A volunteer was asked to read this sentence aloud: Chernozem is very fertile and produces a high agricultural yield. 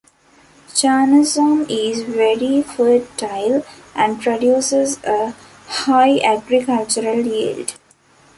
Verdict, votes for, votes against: rejected, 1, 2